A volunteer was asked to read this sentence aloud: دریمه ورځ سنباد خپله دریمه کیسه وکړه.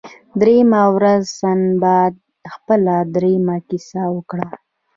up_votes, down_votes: 2, 0